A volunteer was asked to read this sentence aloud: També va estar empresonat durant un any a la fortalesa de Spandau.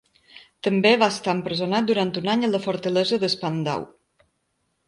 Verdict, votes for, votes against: rejected, 0, 2